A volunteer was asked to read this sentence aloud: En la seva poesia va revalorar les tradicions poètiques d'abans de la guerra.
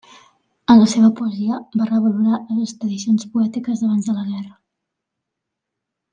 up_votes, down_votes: 2, 0